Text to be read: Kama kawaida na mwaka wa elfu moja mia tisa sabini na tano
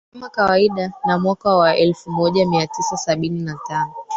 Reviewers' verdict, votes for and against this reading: rejected, 1, 2